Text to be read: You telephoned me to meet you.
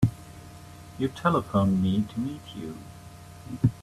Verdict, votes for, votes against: accepted, 2, 0